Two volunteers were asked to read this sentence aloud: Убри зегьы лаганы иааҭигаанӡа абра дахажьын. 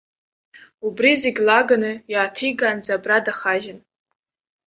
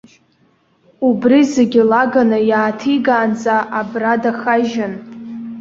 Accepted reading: first